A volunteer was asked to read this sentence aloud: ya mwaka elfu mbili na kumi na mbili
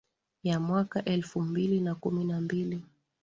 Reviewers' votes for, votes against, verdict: 14, 0, accepted